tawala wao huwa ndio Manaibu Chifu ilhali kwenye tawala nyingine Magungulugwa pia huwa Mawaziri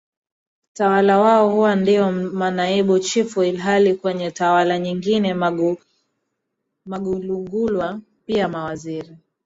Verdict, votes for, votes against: rejected, 0, 2